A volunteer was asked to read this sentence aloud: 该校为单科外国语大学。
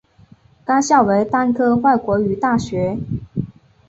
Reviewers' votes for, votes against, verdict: 2, 0, accepted